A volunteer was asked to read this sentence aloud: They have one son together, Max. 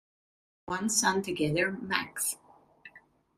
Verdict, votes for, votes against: rejected, 0, 2